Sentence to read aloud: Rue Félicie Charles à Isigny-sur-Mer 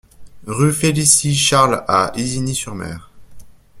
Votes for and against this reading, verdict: 2, 0, accepted